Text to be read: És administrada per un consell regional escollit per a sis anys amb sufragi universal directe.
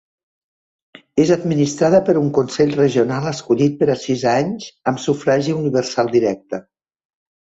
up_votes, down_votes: 2, 0